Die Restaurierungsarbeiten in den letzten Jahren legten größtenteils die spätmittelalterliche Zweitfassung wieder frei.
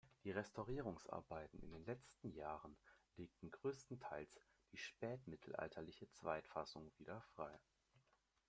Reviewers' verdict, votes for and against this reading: rejected, 0, 2